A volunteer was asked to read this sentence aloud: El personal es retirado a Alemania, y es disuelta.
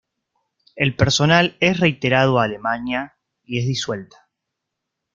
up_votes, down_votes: 0, 2